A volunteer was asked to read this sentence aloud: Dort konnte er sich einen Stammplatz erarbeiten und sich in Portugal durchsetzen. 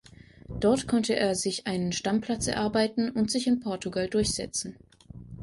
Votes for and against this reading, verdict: 2, 0, accepted